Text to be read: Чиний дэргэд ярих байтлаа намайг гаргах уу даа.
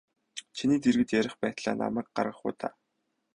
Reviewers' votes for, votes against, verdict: 0, 2, rejected